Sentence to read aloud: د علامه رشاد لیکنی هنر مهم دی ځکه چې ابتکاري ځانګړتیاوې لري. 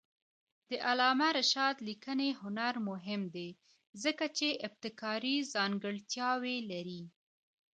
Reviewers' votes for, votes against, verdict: 2, 0, accepted